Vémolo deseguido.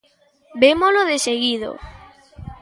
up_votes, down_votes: 1, 2